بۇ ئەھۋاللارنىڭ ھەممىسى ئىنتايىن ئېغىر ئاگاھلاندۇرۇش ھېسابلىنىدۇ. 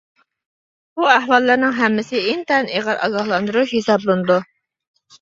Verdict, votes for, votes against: accepted, 2, 0